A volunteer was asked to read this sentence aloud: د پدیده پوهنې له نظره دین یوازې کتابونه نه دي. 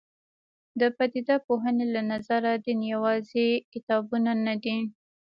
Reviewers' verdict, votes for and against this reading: rejected, 1, 2